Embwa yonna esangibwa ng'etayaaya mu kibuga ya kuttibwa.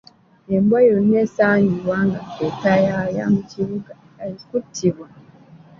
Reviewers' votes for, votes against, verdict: 2, 1, accepted